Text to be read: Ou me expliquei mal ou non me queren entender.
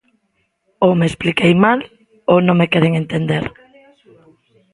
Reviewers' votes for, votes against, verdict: 1, 2, rejected